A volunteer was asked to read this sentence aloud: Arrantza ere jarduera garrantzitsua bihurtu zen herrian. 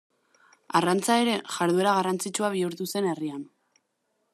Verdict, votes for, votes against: accepted, 2, 0